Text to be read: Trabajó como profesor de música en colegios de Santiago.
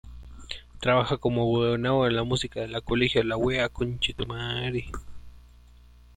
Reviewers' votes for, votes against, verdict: 0, 2, rejected